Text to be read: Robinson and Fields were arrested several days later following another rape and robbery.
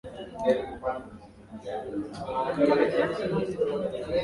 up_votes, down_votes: 0, 2